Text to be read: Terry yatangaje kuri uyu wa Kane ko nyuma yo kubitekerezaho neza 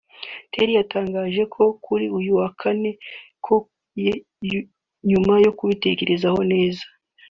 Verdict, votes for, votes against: rejected, 0, 3